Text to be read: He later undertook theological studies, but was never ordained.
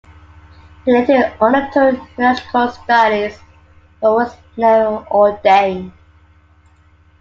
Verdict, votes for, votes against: rejected, 0, 2